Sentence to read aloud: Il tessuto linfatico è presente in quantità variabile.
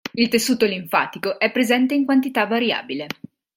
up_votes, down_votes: 2, 0